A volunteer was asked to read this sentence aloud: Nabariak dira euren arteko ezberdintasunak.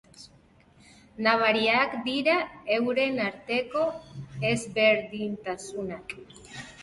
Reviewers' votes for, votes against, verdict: 2, 0, accepted